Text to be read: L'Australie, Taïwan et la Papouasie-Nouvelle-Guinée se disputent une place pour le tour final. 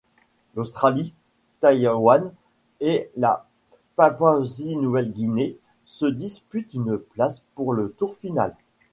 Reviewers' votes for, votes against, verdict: 1, 2, rejected